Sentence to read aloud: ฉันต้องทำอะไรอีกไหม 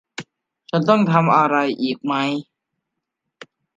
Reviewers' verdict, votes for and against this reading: accepted, 2, 0